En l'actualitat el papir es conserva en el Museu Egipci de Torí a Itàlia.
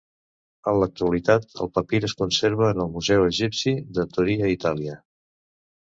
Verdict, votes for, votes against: accepted, 3, 0